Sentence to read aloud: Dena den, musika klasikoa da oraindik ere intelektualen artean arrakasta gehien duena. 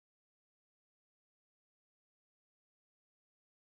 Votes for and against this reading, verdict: 0, 2, rejected